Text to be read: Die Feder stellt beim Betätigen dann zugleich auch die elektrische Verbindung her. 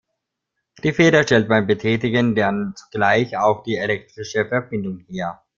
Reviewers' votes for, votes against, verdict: 2, 1, accepted